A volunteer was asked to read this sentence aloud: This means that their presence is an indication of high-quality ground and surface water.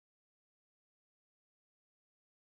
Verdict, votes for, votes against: rejected, 0, 2